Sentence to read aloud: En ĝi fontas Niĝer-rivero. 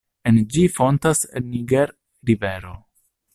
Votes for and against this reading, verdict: 0, 2, rejected